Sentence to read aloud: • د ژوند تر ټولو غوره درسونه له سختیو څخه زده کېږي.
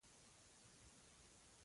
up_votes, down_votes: 0, 2